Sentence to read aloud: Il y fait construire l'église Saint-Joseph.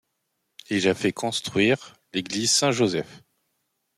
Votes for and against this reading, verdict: 1, 3, rejected